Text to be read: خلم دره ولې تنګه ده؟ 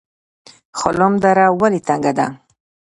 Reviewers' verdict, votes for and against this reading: rejected, 1, 2